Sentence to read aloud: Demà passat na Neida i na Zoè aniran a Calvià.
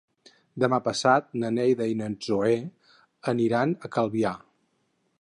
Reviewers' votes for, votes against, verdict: 2, 4, rejected